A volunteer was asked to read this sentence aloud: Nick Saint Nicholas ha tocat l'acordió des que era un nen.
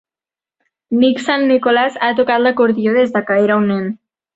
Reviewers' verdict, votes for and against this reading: accepted, 5, 2